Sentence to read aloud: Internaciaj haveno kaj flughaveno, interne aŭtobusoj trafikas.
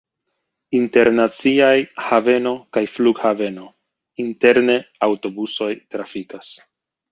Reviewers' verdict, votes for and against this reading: rejected, 1, 2